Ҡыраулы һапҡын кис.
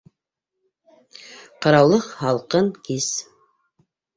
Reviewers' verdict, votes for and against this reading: rejected, 0, 2